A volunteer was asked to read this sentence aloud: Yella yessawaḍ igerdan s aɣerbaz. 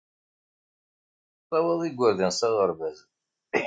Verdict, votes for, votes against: rejected, 1, 2